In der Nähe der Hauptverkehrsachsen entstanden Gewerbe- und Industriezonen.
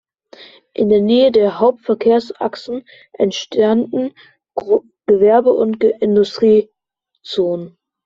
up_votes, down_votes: 0, 2